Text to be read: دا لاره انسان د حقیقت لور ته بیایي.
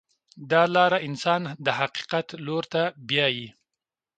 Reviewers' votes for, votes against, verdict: 2, 0, accepted